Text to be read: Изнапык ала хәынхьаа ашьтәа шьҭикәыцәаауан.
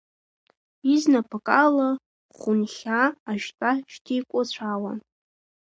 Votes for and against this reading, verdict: 2, 1, accepted